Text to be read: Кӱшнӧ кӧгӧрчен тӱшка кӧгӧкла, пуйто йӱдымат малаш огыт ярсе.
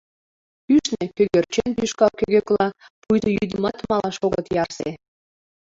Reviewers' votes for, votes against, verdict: 2, 1, accepted